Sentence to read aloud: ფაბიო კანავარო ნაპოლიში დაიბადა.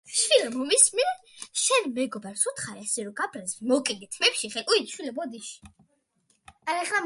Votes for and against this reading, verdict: 0, 2, rejected